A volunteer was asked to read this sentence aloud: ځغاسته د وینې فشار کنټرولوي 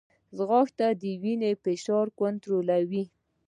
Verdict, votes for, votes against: rejected, 1, 2